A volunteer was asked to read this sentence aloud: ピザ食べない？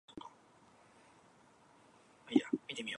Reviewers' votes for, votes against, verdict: 1, 2, rejected